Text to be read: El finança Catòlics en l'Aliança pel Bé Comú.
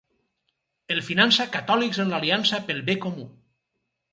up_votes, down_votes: 4, 0